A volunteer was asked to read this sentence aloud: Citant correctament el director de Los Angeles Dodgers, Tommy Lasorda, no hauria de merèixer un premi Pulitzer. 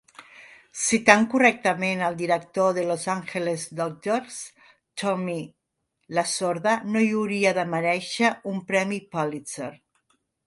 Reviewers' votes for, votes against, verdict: 0, 2, rejected